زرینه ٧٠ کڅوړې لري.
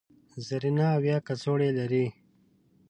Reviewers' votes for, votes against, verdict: 0, 2, rejected